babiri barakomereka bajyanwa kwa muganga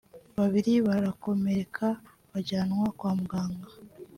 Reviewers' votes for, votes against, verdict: 1, 2, rejected